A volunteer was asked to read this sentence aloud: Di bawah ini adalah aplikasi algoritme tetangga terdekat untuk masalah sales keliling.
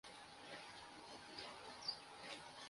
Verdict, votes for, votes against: rejected, 0, 2